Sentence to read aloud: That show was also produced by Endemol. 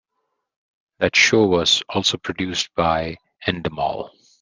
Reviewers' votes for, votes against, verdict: 2, 0, accepted